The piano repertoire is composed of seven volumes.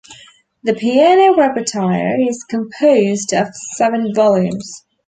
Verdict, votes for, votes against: rejected, 0, 2